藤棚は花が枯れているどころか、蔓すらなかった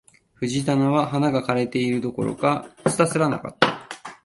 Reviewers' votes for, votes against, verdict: 3, 1, accepted